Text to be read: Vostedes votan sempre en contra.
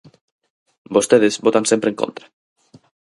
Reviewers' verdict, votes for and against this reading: accepted, 4, 0